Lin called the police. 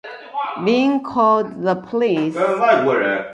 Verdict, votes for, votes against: rejected, 0, 2